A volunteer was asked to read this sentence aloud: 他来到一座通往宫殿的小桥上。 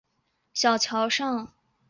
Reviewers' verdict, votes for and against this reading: rejected, 0, 2